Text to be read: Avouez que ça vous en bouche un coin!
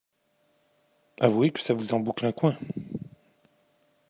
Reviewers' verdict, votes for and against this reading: rejected, 0, 2